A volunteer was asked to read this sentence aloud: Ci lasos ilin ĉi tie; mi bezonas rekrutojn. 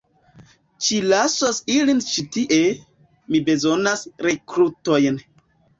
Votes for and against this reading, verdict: 1, 2, rejected